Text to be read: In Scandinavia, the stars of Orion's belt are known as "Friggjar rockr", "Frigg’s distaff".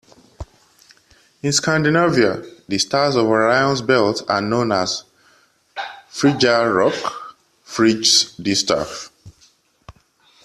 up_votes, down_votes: 2, 0